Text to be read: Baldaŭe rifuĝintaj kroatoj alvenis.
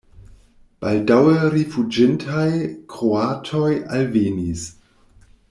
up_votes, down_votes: 2, 0